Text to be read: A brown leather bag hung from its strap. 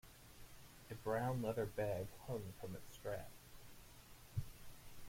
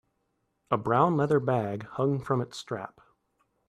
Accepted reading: second